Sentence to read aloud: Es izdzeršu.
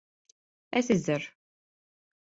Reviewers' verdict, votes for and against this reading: rejected, 1, 2